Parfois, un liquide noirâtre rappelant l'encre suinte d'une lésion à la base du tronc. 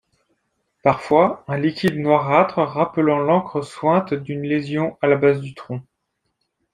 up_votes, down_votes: 2, 0